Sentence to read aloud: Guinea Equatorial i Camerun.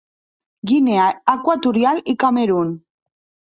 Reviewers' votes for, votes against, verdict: 2, 0, accepted